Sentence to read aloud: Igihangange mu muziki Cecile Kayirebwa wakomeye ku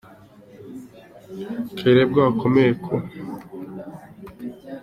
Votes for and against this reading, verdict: 1, 2, rejected